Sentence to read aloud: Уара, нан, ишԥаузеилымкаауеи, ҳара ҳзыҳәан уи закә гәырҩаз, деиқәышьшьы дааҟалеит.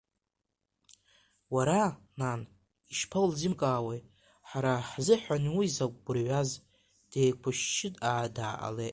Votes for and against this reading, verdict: 0, 2, rejected